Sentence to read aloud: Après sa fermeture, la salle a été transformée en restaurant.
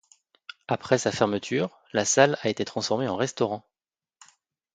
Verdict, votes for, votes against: accepted, 2, 0